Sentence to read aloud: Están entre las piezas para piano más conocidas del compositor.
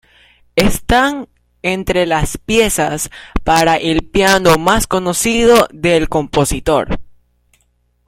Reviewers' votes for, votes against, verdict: 0, 2, rejected